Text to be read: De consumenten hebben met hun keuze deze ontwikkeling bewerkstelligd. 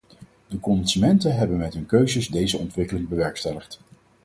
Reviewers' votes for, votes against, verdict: 2, 4, rejected